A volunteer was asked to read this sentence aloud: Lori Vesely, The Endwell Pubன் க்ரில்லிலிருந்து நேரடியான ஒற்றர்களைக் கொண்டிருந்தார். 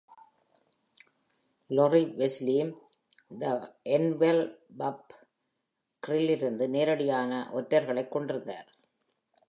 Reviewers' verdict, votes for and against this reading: accepted, 2, 0